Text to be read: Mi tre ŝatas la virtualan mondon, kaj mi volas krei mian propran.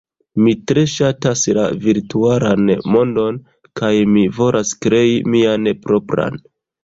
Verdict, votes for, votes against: rejected, 0, 2